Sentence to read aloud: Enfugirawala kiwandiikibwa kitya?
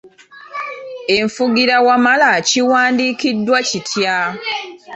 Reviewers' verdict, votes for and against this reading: rejected, 0, 2